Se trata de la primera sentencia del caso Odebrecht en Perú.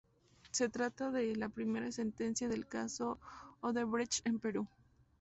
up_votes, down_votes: 2, 0